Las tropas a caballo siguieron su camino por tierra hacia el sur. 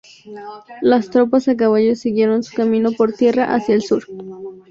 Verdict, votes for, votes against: accepted, 2, 0